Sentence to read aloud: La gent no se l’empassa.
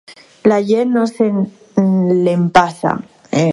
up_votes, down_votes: 2, 2